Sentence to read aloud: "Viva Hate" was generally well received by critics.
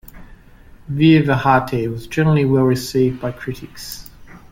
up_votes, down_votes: 2, 0